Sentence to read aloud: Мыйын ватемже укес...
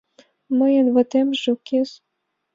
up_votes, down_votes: 2, 0